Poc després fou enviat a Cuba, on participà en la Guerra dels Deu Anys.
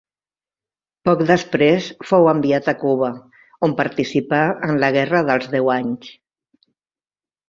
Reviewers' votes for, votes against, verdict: 2, 0, accepted